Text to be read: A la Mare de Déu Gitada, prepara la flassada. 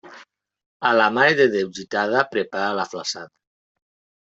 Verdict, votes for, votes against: rejected, 1, 2